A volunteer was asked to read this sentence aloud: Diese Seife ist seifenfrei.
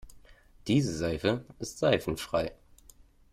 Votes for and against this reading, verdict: 2, 0, accepted